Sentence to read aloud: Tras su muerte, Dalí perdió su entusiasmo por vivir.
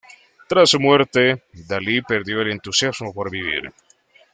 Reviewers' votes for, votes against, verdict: 1, 2, rejected